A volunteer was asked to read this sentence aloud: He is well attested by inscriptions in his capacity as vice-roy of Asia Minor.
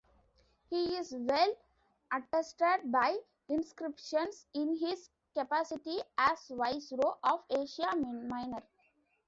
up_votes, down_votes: 2, 1